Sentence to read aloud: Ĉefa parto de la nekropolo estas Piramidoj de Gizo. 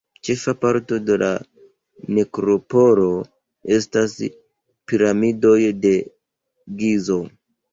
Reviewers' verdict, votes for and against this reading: rejected, 1, 2